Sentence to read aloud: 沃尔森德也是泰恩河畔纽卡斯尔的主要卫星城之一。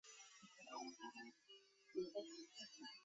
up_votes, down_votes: 0, 2